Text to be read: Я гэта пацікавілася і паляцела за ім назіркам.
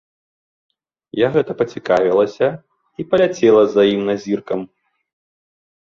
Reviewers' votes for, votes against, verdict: 2, 0, accepted